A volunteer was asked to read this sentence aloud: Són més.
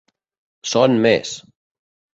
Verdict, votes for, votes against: accepted, 2, 0